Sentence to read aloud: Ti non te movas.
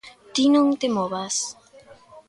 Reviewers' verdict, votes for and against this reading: accepted, 2, 0